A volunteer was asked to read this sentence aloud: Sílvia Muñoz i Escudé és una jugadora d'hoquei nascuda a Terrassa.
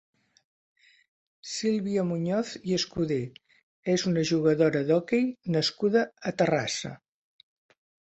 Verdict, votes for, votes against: accepted, 2, 0